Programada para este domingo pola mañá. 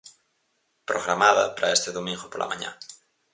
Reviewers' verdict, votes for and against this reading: accepted, 4, 0